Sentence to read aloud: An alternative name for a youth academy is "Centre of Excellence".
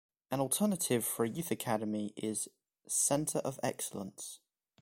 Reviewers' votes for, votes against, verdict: 0, 2, rejected